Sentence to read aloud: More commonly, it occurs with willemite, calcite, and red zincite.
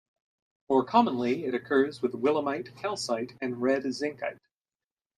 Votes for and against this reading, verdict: 2, 1, accepted